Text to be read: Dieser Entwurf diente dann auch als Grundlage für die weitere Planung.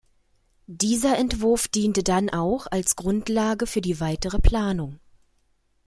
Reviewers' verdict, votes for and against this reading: accepted, 2, 0